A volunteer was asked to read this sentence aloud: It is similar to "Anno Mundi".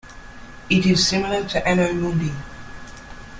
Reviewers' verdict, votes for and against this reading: accepted, 2, 0